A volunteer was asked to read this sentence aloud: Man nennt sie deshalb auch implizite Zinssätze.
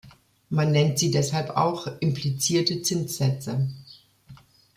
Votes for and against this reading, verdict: 1, 2, rejected